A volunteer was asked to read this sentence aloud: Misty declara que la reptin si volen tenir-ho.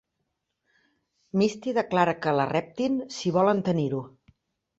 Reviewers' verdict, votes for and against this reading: rejected, 1, 2